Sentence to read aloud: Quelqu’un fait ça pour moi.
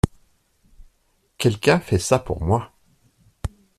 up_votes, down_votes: 2, 0